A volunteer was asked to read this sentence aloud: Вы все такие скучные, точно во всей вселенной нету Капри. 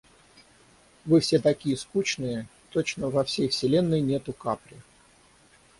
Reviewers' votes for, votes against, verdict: 0, 6, rejected